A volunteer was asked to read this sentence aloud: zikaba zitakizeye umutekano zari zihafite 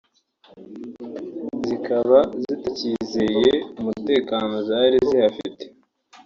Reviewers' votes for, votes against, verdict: 3, 1, accepted